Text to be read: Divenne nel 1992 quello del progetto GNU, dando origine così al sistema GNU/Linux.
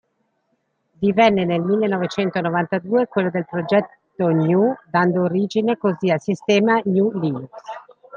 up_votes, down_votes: 0, 2